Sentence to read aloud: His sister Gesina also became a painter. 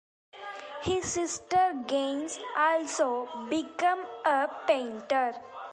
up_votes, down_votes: 0, 2